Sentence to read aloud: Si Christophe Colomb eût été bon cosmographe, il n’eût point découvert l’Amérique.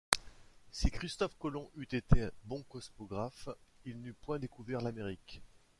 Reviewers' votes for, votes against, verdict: 2, 0, accepted